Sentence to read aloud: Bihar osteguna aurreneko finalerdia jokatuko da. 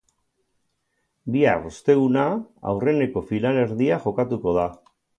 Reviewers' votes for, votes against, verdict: 2, 0, accepted